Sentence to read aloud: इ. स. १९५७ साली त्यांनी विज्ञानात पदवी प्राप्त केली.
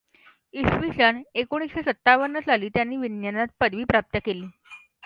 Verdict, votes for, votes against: rejected, 0, 2